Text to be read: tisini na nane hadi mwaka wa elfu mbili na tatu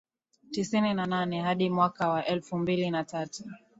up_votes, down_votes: 2, 0